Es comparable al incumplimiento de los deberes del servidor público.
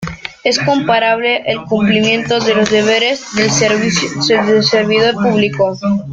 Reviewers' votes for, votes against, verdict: 0, 2, rejected